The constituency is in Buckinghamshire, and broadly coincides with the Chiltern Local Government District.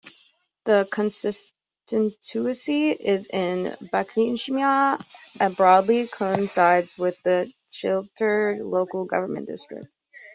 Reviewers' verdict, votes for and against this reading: rejected, 0, 2